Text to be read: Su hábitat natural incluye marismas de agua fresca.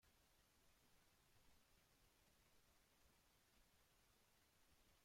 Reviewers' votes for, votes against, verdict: 0, 2, rejected